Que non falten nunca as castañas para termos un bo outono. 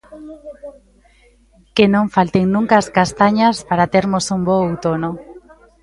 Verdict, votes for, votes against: rejected, 1, 2